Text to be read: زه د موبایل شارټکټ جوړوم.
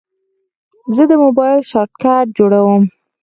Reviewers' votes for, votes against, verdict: 4, 2, accepted